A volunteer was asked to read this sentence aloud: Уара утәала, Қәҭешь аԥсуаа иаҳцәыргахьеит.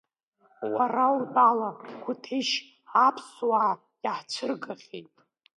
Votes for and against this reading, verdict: 2, 0, accepted